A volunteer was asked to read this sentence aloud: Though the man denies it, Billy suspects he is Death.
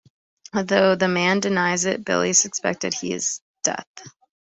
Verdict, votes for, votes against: rejected, 0, 2